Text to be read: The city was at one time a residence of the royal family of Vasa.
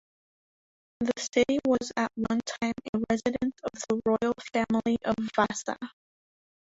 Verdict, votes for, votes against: rejected, 1, 2